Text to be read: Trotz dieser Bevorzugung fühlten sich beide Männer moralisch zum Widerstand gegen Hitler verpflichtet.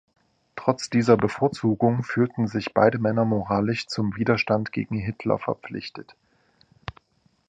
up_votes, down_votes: 2, 0